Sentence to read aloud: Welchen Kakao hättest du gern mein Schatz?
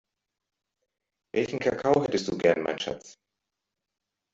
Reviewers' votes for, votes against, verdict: 2, 0, accepted